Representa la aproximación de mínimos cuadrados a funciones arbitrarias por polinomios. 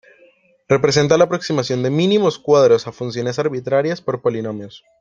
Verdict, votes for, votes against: rejected, 1, 2